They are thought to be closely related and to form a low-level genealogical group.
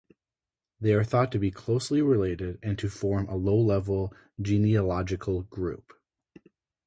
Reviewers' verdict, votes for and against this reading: rejected, 2, 2